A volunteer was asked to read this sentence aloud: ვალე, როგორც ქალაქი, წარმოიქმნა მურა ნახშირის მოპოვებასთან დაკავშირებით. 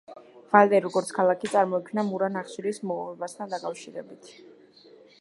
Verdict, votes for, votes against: rejected, 0, 2